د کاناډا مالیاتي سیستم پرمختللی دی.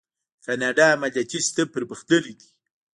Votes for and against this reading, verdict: 0, 2, rejected